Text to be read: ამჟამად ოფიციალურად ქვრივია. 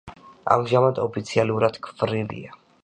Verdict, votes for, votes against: accepted, 2, 0